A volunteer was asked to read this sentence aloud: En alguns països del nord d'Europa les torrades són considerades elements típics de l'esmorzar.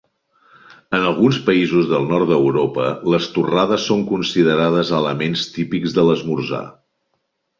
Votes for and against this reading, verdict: 3, 0, accepted